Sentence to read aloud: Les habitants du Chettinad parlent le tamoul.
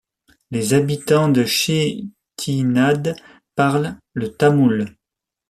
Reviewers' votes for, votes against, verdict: 1, 2, rejected